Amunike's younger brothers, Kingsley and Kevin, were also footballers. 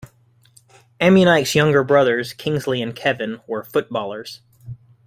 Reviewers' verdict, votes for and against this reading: rejected, 1, 2